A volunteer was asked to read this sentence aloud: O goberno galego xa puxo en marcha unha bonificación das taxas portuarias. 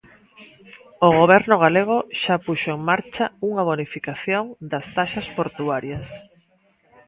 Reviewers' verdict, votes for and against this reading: accepted, 2, 0